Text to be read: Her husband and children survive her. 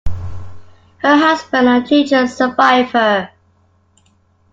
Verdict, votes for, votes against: accepted, 2, 0